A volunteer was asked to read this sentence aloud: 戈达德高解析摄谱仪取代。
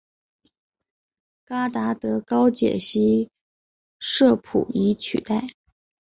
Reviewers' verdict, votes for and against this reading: rejected, 2, 2